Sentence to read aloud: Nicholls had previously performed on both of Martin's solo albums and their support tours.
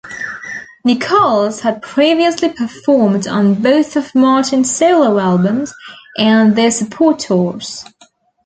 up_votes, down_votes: 2, 0